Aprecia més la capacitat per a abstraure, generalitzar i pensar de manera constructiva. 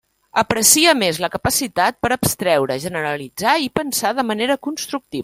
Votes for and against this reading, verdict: 0, 2, rejected